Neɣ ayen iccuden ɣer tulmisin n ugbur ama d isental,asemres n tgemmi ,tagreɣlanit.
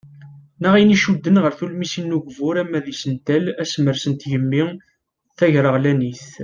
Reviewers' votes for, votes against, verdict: 2, 0, accepted